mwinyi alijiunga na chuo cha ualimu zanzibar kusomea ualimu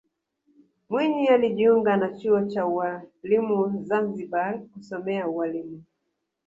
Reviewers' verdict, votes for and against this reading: rejected, 1, 2